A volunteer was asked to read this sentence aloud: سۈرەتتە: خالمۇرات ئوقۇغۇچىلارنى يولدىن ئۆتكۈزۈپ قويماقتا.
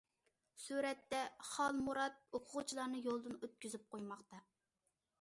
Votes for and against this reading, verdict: 2, 0, accepted